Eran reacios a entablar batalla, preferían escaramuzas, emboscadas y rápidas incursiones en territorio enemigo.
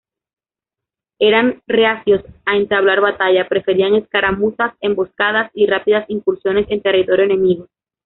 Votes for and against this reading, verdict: 2, 1, accepted